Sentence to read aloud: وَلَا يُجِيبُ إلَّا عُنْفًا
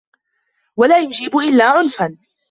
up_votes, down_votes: 2, 0